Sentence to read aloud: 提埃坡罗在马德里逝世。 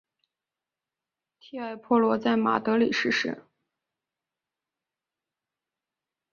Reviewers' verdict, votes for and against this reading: rejected, 1, 2